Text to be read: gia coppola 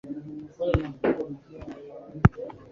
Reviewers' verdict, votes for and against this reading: rejected, 0, 2